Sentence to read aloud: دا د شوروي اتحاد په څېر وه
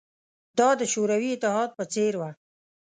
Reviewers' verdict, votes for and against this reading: accepted, 2, 0